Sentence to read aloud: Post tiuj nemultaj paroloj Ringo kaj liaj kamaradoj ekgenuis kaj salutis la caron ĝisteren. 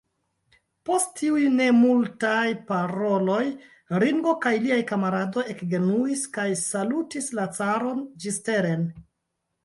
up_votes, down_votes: 2, 1